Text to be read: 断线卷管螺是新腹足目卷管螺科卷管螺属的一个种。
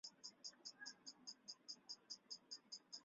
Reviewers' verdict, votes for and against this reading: rejected, 0, 2